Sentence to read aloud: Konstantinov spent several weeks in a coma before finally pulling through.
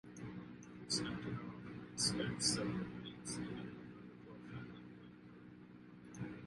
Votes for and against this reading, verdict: 0, 2, rejected